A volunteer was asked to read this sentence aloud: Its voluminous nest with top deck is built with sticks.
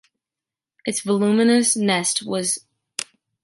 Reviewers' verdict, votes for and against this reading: rejected, 0, 2